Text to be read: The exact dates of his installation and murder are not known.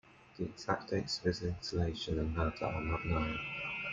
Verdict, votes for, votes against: accepted, 2, 0